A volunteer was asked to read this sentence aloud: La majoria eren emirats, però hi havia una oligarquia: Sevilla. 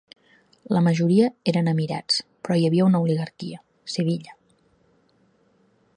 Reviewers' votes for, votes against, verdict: 3, 0, accepted